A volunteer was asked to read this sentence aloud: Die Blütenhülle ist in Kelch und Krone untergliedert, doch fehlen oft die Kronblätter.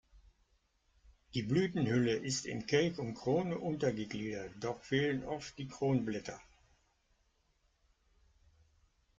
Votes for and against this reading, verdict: 2, 0, accepted